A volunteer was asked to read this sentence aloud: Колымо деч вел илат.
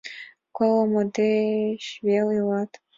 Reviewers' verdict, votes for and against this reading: accepted, 2, 0